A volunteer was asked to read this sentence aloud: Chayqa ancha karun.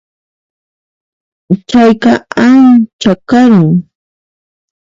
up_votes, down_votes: 1, 2